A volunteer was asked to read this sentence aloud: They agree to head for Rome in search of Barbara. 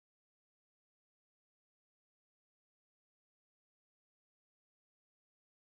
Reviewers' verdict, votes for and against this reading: rejected, 0, 2